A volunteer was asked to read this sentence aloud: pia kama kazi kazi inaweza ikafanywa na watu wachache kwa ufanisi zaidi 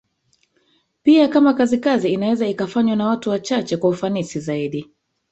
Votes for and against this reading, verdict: 2, 3, rejected